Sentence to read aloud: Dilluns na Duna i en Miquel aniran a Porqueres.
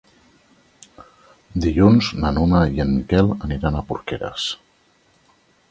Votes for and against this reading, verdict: 0, 2, rejected